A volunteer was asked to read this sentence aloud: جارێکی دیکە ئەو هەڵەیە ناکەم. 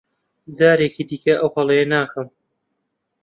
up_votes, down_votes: 2, 0